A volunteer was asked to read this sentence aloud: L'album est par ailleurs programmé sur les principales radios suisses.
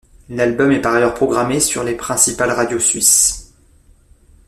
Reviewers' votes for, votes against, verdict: 2, 0, accepted